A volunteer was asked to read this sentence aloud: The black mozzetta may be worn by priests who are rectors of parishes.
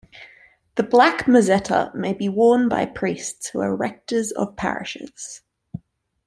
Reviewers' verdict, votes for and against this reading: accepted, 2, 0